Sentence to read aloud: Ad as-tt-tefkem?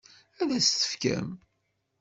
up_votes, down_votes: 2, 0